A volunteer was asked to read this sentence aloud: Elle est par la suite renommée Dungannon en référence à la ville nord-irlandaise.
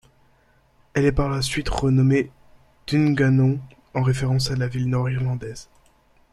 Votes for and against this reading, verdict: 0, 2, rejected